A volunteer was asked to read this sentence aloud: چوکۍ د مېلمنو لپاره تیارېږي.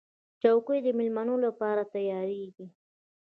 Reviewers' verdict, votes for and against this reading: rejected, 1, 2